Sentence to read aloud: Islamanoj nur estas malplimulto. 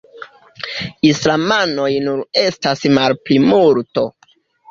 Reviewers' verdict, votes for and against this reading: accepted, 2, 0